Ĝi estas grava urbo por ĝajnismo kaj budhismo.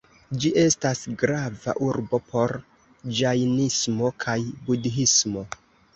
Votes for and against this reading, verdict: 2, 0, accepted